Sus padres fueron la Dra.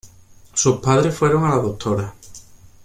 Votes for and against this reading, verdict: 1, 2, rejected